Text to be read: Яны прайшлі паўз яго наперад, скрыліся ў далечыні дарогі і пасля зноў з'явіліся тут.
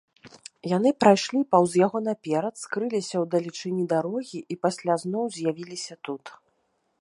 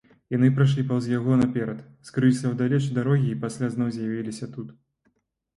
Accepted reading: first